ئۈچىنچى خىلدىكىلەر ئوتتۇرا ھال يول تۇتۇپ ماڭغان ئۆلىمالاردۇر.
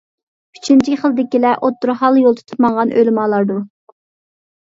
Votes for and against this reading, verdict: 2, 0, accepted